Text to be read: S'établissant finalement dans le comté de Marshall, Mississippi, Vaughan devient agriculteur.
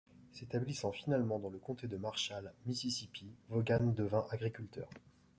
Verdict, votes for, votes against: accepted, 2, 0